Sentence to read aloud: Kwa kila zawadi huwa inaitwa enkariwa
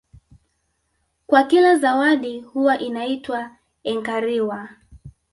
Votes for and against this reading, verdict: 1, 2, rejected